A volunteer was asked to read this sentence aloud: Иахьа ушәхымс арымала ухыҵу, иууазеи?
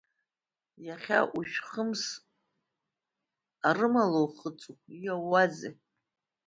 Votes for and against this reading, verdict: 0, 2, rejected